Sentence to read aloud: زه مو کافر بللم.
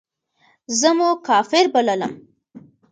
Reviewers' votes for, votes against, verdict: 2, 0, accepted